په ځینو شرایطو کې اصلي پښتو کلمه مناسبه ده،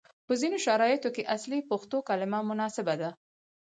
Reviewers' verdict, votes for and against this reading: rejected, 2, 4